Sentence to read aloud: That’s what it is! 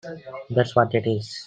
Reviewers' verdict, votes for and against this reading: accepted, 2, 0